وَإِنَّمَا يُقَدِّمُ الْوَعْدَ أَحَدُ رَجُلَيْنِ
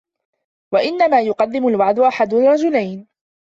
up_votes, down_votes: 2, 1